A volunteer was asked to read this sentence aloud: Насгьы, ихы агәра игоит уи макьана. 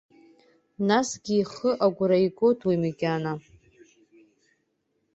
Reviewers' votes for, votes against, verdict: 2, 0, accepted